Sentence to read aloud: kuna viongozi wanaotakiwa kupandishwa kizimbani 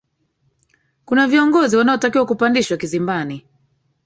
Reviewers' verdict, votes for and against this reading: rejected, 0, 2